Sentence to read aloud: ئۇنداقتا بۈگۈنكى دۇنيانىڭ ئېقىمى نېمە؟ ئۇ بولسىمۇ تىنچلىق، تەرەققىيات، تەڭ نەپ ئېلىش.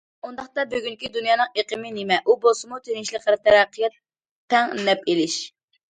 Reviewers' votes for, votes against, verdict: 2, 1, accepted